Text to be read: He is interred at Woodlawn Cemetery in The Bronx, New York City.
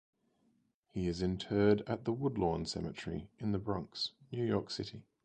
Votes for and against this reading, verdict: 0, 2, rejected